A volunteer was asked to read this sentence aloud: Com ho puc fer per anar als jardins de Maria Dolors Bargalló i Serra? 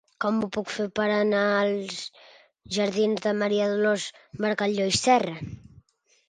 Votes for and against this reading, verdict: 2, 0, accepted